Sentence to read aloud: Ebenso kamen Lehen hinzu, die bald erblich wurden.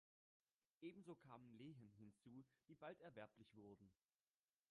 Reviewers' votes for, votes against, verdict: 0, 2, rejected